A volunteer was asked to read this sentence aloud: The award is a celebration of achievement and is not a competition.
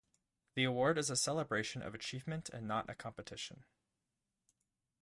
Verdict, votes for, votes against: rejected, 0, 2